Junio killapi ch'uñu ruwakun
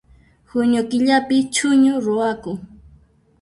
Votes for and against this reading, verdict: 0, 2, rejected